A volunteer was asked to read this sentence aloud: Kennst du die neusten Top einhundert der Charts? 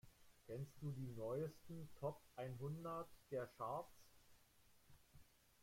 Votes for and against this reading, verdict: 1, 2, rejected